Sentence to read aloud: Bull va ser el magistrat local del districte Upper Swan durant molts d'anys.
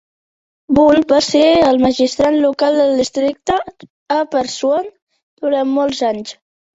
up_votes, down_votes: 1, 2